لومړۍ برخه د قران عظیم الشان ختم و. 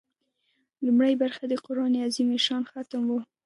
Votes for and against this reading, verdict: 2, 0, accepted